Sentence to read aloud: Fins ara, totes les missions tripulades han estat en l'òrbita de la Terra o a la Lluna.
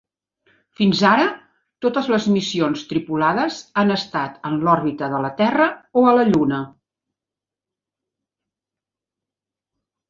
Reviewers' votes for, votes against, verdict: 3, 0, accepted